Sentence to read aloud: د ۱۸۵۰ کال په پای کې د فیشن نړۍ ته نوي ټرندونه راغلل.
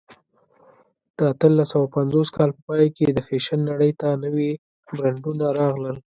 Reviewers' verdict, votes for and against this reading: rejected, 0, 2